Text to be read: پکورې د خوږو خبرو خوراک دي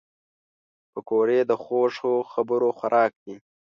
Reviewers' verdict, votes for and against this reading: accepted, 2, 0